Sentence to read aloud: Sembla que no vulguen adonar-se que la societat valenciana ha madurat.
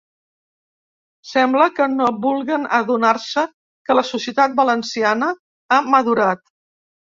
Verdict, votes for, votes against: accepted, 3, 0